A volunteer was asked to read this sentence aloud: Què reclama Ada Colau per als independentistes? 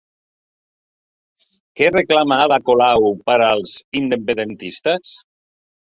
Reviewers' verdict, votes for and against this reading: rejected, 0, 2